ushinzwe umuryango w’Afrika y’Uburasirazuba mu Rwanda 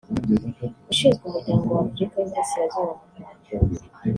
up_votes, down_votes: 1, 2